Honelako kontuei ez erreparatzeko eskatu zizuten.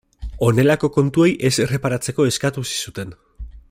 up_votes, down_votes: 2, 0